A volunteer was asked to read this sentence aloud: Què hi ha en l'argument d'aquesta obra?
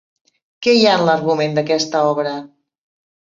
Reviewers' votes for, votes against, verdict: 2, 0, accepted